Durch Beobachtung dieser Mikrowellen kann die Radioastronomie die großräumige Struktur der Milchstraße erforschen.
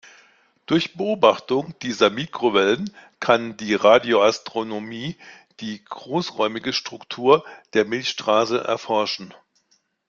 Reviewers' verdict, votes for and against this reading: accepted, 2, 0